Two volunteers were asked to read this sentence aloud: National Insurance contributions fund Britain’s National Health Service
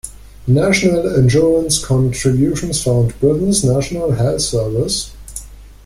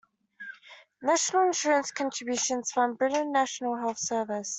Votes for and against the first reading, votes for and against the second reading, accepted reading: 2, 0, 1, 2, first